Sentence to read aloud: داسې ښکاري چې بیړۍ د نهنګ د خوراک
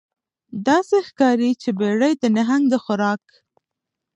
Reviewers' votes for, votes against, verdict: 2, 0, accepted